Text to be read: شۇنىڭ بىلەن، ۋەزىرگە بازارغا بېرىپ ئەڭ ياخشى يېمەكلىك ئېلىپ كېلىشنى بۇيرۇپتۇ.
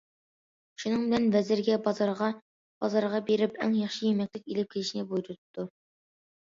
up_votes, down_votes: 1, 2